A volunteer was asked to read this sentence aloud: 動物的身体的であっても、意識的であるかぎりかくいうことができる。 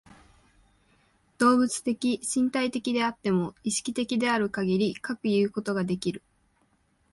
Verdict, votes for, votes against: accepted, 2, 0